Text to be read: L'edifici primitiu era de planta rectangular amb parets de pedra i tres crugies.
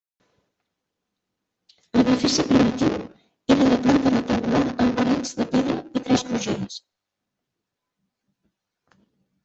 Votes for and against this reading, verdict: 0, 2, rejected